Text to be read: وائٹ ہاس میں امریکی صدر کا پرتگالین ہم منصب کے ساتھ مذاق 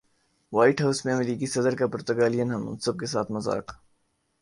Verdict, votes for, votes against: accepted, 5, 0